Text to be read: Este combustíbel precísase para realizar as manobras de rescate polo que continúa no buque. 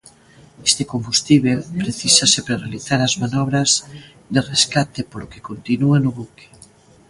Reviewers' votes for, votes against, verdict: 1, 2, rejected